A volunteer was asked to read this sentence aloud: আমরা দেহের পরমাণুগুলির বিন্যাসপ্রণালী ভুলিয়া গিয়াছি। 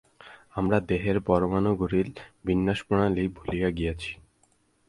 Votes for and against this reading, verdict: 4, 4, rejected